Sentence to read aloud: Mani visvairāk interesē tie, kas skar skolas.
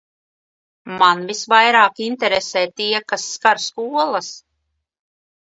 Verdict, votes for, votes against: rejected, 1, 2